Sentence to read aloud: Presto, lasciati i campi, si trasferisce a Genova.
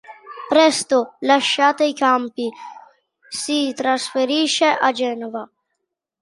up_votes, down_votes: 1, 2